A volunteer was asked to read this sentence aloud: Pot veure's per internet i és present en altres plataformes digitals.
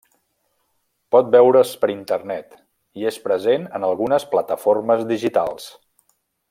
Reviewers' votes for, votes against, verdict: 0, 2, rejected